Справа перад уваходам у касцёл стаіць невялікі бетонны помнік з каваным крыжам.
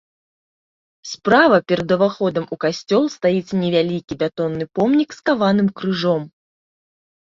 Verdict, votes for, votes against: rejected, 1, 2